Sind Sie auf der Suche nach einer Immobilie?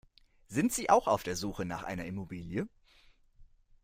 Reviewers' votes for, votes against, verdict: 1, 2, rejected